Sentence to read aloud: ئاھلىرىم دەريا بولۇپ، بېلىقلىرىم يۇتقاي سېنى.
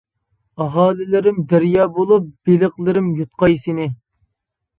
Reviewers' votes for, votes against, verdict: 0, 2, rejected